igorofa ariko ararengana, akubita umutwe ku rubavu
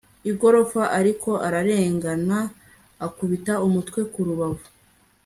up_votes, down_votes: 2, 0